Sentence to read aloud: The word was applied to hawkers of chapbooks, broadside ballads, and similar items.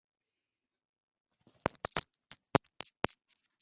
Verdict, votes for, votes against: rejected, 0, 2